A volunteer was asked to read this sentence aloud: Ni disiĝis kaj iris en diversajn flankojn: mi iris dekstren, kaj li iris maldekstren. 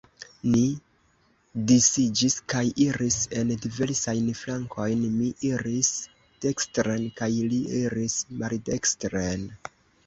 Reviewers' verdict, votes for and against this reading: rejected, 0, 2